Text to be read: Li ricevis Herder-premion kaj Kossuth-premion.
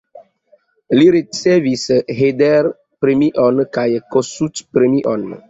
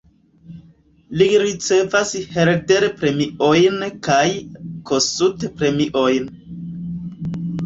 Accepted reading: first